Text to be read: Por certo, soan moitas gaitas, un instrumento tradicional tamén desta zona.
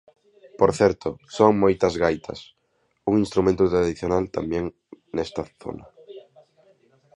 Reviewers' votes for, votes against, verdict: 0, 2, rejected